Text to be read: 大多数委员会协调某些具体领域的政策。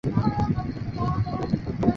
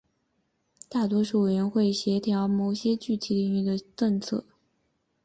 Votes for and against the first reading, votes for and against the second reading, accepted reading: 0, 3, 2, 0, second